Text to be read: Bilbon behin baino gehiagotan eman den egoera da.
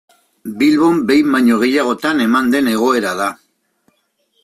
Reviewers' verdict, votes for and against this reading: accepted, 2, 0